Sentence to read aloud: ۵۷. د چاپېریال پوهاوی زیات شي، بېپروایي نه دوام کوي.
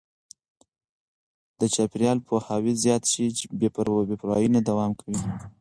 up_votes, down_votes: 0, 2